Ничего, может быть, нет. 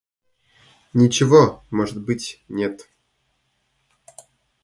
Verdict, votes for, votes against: rejected, 0, 2